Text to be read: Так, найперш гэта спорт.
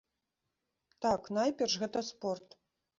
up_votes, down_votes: 0, 2